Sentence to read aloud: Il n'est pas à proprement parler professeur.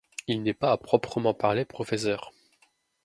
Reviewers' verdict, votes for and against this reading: rejected, 1, 2